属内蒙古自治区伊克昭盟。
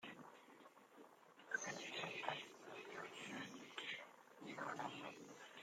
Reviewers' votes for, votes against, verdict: 0, 2, rejected